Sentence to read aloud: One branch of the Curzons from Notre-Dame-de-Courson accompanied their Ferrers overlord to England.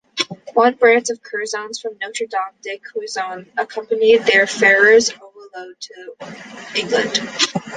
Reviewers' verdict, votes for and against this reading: accepted, 2, 0